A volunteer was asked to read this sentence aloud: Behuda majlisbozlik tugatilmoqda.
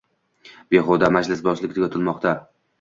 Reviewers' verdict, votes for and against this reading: accepted, 2, 0